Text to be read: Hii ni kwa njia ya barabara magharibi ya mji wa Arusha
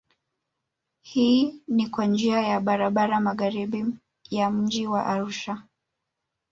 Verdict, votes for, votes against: rejected, 0, 2